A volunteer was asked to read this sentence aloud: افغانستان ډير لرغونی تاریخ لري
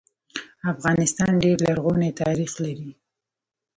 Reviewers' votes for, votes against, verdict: 1, 2, rejected